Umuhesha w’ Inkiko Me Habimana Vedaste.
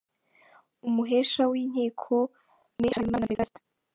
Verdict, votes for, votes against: rejected, 1, 2